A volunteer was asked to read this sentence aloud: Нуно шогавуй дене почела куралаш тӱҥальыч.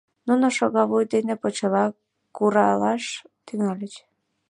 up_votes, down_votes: 1, 2